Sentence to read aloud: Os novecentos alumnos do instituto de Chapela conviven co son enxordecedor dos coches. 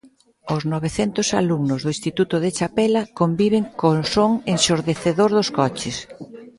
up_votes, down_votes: 0, 2